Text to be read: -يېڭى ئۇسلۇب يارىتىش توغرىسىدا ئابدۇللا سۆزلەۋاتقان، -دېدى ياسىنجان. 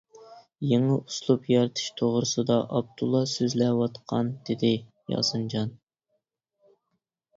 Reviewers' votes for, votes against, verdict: 2, 0, accepted